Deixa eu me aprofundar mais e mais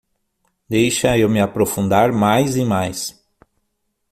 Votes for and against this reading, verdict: 6, 0, accepted